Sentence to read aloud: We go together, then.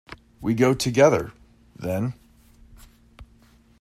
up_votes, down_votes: 1, 2